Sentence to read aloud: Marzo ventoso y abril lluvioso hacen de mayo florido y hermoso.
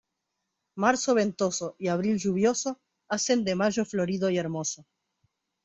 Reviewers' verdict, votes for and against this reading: accepted, 2, 0